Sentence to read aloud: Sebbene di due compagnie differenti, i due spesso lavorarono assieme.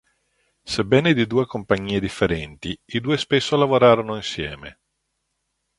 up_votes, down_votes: 1, 2